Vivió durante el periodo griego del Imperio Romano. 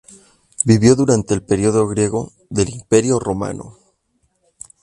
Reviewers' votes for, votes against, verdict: 2, 0, accepted